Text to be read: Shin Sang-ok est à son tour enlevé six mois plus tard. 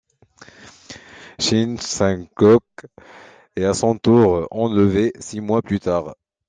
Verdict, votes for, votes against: rejected, 1, 2